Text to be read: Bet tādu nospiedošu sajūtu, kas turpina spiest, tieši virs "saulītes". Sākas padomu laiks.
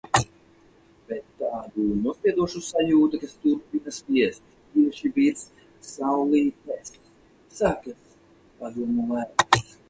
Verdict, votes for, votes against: rejected, 0, 4